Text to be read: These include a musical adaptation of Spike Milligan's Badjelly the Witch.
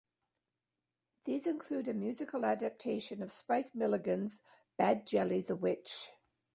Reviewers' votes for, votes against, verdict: 0, 2, rejected